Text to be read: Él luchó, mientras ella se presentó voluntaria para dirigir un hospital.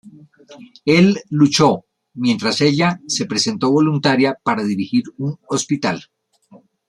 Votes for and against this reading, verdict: 2, 0, accepted